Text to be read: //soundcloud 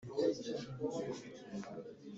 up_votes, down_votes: 0, 2